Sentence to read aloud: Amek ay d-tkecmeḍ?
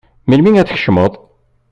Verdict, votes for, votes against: rejected, 1, 2